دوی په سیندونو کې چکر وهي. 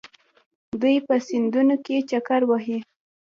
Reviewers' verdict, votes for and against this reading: rejected, 1, 2